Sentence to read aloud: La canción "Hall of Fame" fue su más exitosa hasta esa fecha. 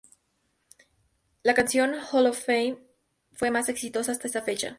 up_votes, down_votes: 0, 2